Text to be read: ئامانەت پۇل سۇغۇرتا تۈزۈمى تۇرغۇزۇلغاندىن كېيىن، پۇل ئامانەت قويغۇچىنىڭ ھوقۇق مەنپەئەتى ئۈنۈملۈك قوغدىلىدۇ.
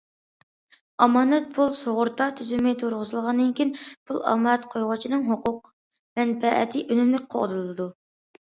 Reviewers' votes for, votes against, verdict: 2, 0, accepted